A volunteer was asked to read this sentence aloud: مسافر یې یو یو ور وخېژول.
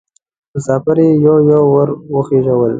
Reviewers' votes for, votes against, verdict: 2, 0, accepted